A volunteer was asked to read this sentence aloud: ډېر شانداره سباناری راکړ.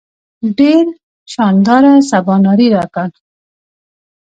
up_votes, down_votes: 1, 2